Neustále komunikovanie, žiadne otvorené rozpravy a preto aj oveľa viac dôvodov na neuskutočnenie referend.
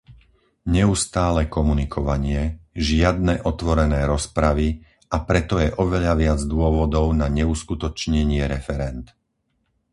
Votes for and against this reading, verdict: 0, 4, rejected